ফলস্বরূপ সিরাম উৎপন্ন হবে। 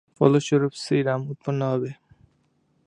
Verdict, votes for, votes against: rejected, 1, 2